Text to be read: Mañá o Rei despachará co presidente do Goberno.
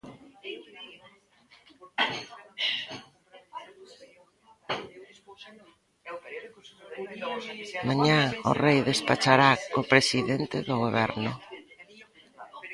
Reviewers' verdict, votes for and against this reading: rejected, 0, 2